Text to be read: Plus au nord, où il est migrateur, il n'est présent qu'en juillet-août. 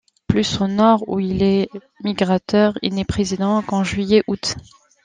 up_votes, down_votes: 1, 2